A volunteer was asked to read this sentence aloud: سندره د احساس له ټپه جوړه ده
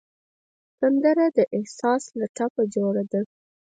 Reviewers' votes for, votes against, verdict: 2, 4, rejected